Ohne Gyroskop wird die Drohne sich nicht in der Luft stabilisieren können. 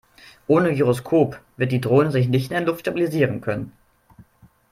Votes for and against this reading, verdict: 1, 2, rejected